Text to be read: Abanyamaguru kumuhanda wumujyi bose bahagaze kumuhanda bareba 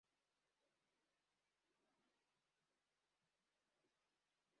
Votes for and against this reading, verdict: 0, 2, rejected